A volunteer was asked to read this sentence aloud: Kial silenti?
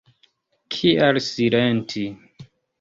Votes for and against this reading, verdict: 1, 2, rejected